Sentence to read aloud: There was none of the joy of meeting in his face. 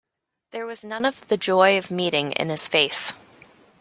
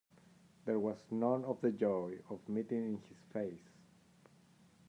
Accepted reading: first